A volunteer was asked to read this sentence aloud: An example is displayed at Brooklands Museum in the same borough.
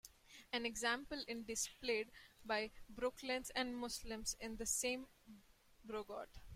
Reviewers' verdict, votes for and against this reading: rejected, 0, 2